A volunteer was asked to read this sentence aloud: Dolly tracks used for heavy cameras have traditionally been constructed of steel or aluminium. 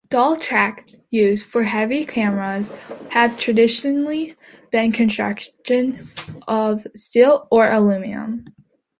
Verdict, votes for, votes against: rejected, 0, 2